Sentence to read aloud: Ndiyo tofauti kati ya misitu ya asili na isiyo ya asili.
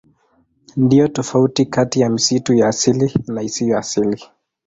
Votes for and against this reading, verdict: 2, 0, accepted